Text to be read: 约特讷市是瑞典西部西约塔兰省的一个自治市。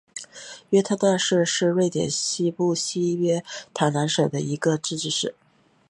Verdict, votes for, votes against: accepted, 2, 1